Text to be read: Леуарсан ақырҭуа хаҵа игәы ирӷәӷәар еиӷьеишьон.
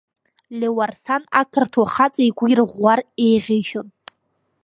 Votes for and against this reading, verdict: 2, 1, accepted